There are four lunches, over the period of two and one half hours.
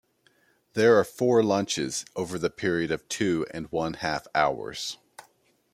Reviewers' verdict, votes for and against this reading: accepted, 2, 0